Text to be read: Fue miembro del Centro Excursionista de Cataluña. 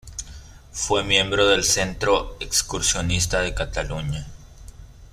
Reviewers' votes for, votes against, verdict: 2, 1, accepted